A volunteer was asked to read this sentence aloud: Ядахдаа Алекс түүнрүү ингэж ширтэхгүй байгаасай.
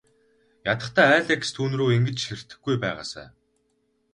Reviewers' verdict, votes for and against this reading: rejected, 2, 2